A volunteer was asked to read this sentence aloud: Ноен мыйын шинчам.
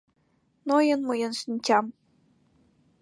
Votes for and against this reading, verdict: 2, 0, accepted